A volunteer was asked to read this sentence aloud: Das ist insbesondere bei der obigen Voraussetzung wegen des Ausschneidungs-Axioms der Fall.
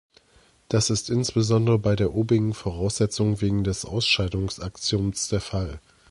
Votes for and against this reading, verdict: 1, 2, rejected